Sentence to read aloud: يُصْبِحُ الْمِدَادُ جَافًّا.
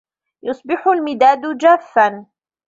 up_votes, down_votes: 2, 0